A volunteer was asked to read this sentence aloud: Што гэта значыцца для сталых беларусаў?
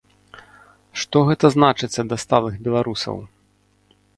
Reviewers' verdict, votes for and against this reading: rejected, 0, 2